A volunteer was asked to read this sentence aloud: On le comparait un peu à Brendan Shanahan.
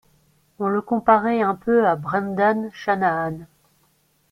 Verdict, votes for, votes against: accepted, 2, 0